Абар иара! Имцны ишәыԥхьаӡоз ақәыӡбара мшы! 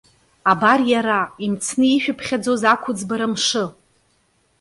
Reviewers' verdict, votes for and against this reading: accepted, 2, 1